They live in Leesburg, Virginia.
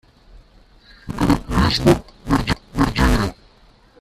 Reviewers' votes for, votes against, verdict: 0, 2, rejected